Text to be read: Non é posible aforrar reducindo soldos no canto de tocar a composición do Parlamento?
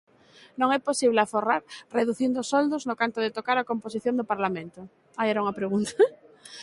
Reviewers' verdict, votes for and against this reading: rejected, 0, 2